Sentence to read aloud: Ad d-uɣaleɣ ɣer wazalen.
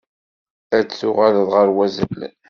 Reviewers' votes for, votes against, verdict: 1, 2, rejected